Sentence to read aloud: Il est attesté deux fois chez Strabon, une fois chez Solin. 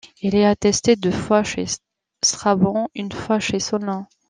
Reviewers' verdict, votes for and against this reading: rejected, 1, 2